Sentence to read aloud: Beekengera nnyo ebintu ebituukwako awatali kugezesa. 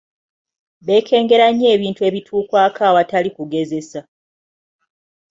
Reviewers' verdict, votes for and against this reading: accepted, 2, 0